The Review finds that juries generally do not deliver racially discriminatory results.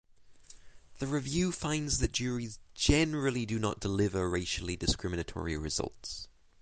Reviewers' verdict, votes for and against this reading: accepted, 6, 0